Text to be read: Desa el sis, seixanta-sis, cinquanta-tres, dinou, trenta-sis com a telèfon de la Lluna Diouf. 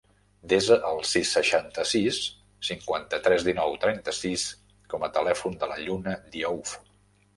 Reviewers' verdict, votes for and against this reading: rejected, 0, 2